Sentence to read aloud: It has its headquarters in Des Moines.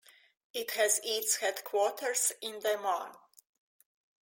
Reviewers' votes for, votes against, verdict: 2, 0, accepted